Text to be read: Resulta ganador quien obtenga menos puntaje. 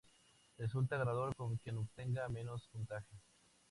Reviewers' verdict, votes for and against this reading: accepted, 2, 0